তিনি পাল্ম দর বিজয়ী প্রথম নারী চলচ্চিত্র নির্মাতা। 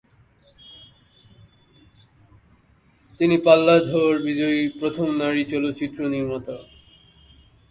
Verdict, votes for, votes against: rejected, 5, 11